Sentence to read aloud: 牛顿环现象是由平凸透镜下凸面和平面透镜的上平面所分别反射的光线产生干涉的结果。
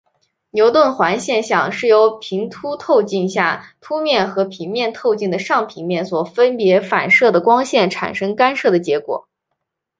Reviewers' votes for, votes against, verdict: 7, 0, accepted